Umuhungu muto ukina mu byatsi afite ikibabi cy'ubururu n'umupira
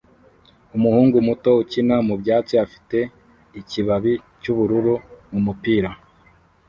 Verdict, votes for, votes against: rejected, 0, 2